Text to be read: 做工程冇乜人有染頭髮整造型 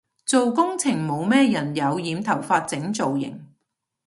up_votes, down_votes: 1, 2